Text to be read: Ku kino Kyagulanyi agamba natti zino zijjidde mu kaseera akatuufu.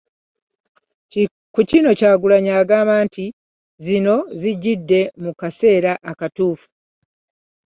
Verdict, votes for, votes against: rejected, 0, 2